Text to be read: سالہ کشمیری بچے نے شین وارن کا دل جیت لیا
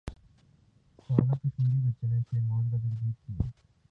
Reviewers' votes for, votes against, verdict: 0, 2, rejected